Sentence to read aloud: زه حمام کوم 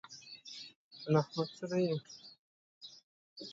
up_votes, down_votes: 0, 2